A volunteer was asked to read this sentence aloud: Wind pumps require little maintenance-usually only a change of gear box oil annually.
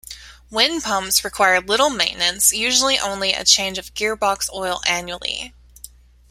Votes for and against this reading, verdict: 3, 0, accepted